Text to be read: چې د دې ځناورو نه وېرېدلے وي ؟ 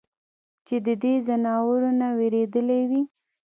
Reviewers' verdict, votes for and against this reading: accepted, 2, 0